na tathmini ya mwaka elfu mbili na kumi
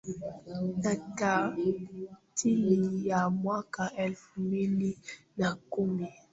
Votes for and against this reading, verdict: 0, 2, rejected